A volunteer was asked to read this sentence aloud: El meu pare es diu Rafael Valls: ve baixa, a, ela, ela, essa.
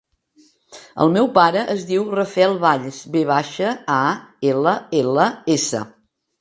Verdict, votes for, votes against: accepted, 2, 0